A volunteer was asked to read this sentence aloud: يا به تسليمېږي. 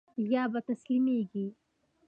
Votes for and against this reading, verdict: 2, 1, accepted